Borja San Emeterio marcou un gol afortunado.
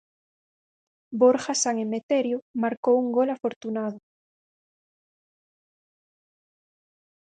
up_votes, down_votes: 4, 0